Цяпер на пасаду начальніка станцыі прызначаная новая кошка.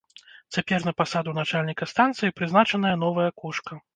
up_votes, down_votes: 2, 0